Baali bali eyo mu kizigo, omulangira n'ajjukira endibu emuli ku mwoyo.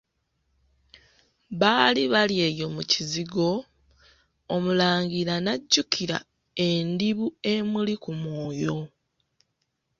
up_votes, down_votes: 2, 1